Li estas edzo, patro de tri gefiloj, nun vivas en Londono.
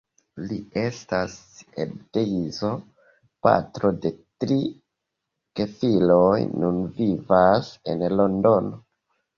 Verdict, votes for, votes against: rejected, 0, 2